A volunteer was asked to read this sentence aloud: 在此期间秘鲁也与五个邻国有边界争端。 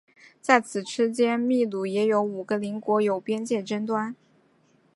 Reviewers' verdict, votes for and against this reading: accepted, 2, 0